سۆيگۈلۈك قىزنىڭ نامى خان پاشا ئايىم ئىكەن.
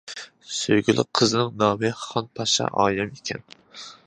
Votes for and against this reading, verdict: 2, 1, accepted